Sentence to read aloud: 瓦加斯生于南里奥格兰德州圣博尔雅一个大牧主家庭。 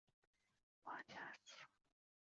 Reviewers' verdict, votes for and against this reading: rejected, 0, 4